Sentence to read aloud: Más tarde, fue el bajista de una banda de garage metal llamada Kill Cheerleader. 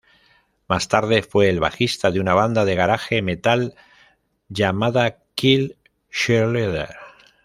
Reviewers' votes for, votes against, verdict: 1, 2, rejected